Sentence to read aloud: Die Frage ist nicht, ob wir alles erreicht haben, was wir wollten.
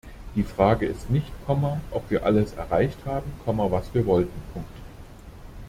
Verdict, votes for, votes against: rejected, 0, 2